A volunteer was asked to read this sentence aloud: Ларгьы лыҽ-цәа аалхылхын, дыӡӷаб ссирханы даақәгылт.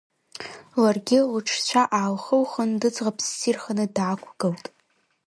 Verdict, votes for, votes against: rejected, 1, 2